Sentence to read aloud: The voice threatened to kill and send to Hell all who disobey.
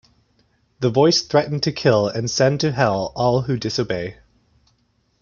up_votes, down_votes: 2, 0